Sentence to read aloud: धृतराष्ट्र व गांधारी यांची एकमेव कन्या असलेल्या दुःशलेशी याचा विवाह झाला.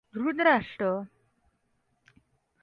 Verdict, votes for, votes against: rejected, 0, 2